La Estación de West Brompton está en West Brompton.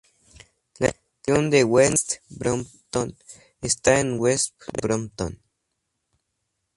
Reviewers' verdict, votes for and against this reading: accepted, 2, 0